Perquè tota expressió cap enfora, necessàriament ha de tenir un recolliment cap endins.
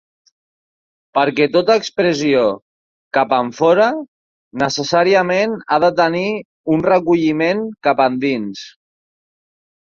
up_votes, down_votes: 2, 0